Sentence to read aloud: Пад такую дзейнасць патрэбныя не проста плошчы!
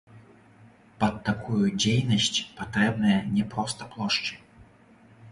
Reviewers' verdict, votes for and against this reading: rejected, 0, 2